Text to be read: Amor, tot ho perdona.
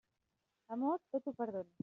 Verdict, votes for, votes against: rejected, 0, 2